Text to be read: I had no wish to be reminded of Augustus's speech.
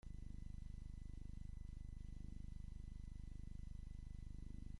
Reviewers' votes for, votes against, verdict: 0, 2, rejected